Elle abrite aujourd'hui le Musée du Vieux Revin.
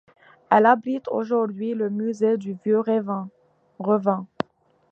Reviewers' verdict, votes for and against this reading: rejected, 0, 2